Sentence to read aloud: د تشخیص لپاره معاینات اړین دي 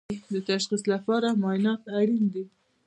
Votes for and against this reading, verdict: 2, 0, accepted